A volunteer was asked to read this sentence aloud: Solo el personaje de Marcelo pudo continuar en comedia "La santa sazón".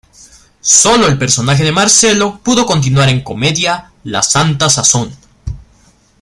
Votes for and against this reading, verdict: 2, 1, accepted